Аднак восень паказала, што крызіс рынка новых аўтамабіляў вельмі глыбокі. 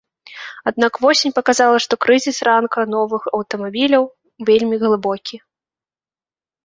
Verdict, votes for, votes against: rejected, 0, 2